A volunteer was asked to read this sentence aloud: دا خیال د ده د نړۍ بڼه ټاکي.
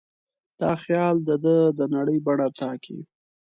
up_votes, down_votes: 2, 0